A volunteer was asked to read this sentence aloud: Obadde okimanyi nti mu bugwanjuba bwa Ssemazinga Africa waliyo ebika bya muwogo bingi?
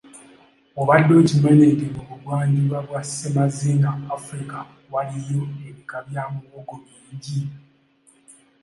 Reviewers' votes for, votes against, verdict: 2, 0, accepted